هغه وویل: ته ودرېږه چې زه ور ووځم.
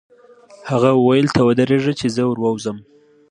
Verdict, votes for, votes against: accepted, 2, 0